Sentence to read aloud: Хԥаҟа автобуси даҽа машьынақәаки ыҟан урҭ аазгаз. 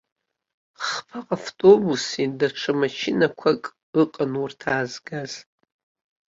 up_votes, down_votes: 0, 2